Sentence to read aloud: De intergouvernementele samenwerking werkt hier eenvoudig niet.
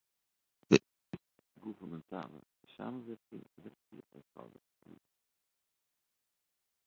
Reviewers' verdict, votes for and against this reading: rejected, 0, 2